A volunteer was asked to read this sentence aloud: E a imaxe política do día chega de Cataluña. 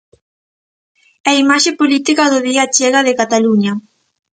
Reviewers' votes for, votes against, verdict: 2, 0, accepted